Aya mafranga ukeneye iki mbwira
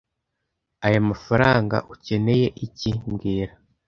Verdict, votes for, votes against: accepted, 2, 1